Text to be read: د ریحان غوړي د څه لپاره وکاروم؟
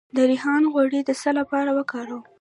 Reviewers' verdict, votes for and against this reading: rejected, 1, 2